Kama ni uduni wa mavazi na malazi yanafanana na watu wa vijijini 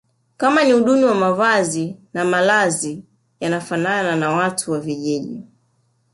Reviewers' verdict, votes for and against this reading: rejected, 1, 2